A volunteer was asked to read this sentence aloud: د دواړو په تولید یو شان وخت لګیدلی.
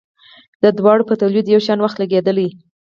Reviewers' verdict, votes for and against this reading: accepted, 4, 0